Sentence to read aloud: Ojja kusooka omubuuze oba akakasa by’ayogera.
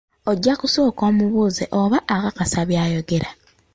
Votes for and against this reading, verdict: 2, 1, accepted